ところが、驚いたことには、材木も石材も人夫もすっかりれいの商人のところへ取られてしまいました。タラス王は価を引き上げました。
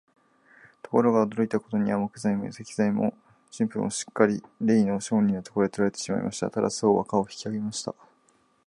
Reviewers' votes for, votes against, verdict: 2, 0, accepted